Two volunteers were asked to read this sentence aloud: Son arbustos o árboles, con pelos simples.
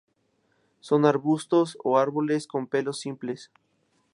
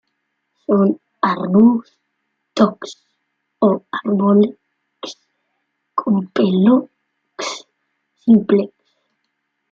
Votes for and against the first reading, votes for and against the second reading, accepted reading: 2, 0, 0, 2, first